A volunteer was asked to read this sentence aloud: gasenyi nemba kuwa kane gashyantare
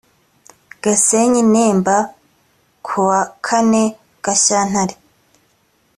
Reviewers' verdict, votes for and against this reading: accepted, 2, 0